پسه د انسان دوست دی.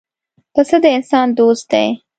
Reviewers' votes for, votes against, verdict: 2, 0, accepted